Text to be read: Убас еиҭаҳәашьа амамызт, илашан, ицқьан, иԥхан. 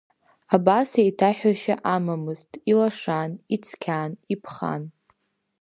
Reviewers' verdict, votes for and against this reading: rejected, 1, 2